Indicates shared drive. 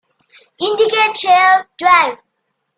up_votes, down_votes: 0, 2